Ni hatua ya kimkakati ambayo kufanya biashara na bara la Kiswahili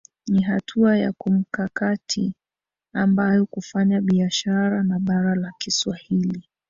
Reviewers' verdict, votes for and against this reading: rejected, 1, 2